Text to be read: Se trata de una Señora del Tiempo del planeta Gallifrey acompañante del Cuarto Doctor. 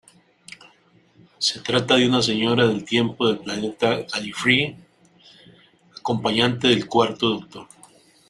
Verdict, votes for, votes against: rejected, 1, 2